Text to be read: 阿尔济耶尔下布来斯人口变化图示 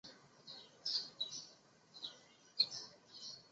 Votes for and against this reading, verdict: 0, 2, rejected